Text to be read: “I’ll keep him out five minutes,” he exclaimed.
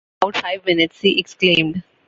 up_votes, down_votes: 0, 2